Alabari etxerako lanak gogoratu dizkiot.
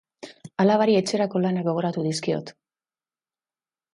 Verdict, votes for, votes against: accepted, 2, 0